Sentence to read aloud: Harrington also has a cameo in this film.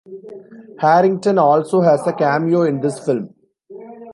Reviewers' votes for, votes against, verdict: 2, 0, accepted